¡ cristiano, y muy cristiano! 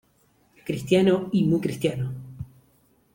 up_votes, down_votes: 2, 0